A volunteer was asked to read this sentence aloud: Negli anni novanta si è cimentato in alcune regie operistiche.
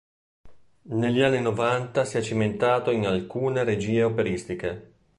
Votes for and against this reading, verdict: 2, 0, accepted